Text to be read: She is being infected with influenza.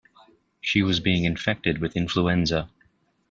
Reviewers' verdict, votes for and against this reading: rejected, 0, 2